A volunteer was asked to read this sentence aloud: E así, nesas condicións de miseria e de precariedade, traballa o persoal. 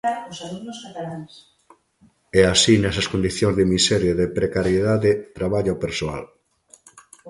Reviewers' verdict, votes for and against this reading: rejected, 0, 2